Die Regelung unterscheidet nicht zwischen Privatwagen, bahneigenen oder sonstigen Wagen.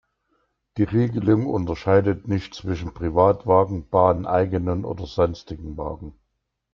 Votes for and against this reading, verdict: 2, 0, accepted